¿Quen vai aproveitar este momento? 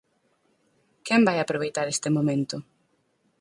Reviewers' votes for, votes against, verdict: 4, 0, accepted